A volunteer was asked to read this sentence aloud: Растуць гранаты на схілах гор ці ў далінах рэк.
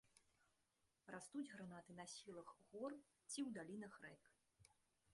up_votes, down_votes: 1, 2